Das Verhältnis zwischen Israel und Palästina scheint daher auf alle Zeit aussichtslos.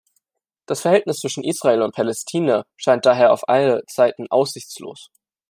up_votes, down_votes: 0, 2